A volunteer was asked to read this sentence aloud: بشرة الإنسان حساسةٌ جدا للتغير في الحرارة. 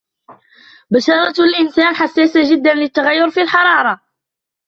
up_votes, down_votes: 3, 1